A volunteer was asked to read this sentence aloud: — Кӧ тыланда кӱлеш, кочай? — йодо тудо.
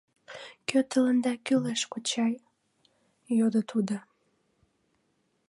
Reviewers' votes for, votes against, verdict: 2, 0, accepted